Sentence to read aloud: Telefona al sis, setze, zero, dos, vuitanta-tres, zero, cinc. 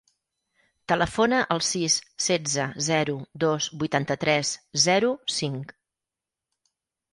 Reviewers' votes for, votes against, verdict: 4, 0, accepted